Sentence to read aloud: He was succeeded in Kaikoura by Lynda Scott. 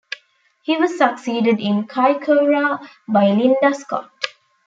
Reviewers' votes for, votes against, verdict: 2, 0, accepted